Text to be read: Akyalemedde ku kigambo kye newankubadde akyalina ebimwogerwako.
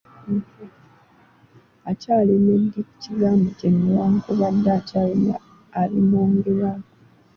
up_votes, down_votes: 2, 0